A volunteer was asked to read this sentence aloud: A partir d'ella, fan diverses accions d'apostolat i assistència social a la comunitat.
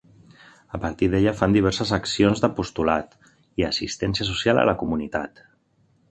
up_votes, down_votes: 2, 0